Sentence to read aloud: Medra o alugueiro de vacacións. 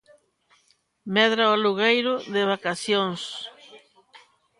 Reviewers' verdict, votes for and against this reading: accepted, 2, 0